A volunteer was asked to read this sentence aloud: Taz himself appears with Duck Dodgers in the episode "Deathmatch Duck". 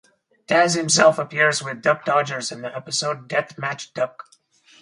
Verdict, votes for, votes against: rejected, 0, 2